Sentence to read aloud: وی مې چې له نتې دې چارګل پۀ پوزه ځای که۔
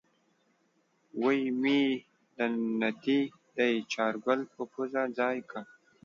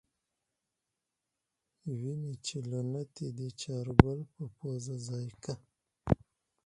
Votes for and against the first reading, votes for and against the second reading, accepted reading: 1, 2, 4, 0, second